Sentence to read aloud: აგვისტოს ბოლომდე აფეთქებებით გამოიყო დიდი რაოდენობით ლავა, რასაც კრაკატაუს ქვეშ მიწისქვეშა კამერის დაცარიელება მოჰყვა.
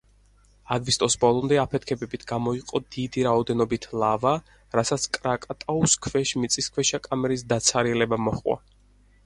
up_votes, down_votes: 4, 0